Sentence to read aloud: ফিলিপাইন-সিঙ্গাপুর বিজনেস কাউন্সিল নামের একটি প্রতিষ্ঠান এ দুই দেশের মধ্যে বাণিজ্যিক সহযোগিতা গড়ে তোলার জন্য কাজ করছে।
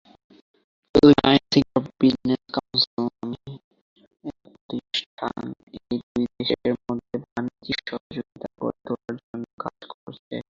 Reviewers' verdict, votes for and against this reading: rejected, 0, 2